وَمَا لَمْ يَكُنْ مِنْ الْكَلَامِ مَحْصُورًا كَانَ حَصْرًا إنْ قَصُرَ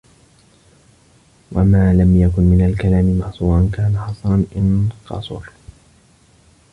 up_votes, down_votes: 1, 2